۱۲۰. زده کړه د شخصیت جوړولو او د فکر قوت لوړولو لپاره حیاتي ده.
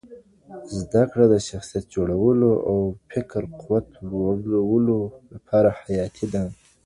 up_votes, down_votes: 0, 2